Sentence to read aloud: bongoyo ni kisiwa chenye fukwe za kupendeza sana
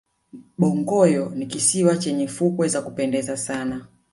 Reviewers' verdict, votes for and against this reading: rejected, 1, 2